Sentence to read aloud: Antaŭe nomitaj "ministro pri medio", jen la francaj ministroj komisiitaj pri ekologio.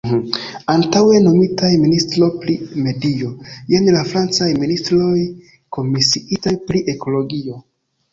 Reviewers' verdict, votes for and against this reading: rejected, 0, 2